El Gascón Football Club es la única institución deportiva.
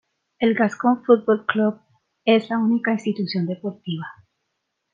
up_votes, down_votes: 2, 0